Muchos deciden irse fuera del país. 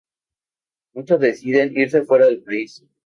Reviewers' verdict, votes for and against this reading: accepted, 2, 0